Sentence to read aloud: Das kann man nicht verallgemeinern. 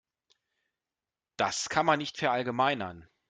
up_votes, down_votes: 2, 0